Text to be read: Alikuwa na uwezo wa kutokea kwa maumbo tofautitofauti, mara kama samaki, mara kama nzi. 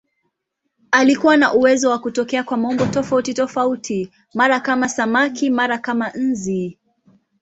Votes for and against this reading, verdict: 1, 2, rejected